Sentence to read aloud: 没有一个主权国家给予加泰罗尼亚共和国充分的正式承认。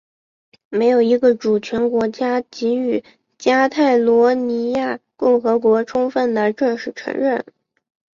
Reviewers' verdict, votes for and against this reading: accepted, 2, 1